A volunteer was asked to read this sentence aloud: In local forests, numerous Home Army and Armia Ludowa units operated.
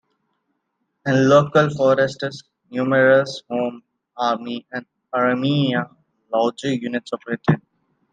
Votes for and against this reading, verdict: 0, 2, rejected